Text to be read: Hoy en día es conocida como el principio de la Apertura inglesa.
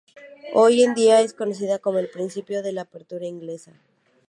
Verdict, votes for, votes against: accepted, 6, 0